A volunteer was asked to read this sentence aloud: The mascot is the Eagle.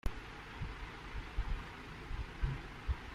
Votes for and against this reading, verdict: 0, 2, rejected